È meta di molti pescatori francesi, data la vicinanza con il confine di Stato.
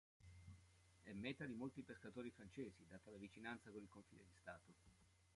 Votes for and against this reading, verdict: 0, 2, rejected